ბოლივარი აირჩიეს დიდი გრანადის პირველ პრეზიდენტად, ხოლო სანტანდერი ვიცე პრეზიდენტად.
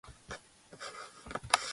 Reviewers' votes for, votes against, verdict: 0, 2, rejected